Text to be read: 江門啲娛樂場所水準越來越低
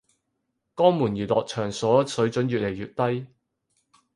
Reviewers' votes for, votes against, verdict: 0, 4, rejected